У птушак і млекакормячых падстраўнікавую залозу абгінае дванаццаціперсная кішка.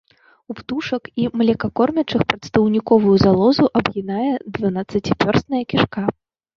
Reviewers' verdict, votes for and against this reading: rejected, 0, 2